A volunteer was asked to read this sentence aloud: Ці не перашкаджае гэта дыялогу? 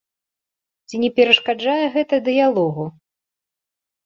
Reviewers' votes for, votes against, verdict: 2, 0, accepted